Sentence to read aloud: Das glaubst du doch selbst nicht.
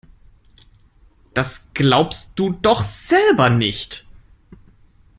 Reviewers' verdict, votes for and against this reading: rejected, 1, 2